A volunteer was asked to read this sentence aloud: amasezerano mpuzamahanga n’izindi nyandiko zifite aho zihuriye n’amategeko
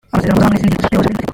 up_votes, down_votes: 0, 2